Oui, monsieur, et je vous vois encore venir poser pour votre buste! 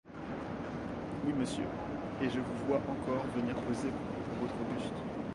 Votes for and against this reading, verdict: 0, 2, rejected